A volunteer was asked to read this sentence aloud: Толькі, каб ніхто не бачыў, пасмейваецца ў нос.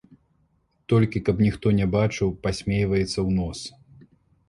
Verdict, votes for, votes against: accepted, 2, 0